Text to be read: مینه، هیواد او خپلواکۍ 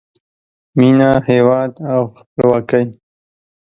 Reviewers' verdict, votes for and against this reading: accepted, 2, 1